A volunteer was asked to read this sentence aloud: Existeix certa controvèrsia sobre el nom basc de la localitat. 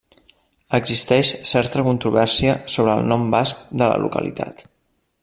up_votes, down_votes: 3, 0